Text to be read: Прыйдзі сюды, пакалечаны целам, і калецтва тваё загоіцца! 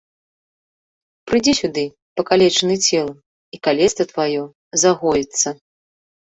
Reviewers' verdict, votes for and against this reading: accepted, 2, 0